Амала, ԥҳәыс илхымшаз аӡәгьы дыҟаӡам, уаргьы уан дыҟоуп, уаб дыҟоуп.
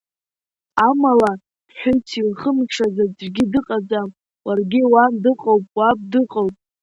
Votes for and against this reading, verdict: 2, 0, accepted